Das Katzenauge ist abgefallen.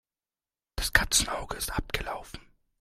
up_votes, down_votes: 0, 2